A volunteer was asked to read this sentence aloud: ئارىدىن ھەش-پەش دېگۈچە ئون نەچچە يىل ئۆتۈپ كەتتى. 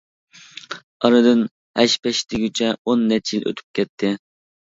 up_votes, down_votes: 2, 0